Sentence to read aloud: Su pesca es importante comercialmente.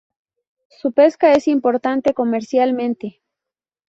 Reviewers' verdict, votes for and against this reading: accepted, 2, 0